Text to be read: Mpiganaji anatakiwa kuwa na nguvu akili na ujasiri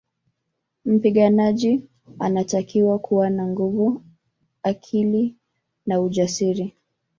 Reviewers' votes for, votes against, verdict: 4, 1, accepted